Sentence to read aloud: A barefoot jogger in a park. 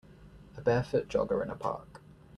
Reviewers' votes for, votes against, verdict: 2, 0, accepted